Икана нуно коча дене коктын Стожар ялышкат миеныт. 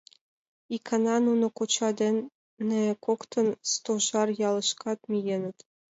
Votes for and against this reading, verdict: 2, 0, accepted